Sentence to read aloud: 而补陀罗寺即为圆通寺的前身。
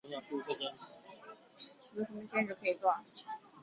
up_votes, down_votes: 0, 2